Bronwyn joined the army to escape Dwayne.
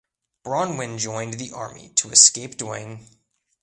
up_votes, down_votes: 2, 0